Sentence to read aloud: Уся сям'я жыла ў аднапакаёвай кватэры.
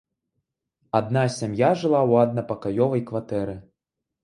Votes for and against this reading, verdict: 1, 2, rejected